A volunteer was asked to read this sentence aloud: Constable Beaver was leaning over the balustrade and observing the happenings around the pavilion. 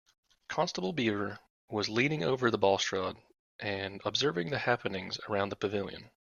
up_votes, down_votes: 2, 0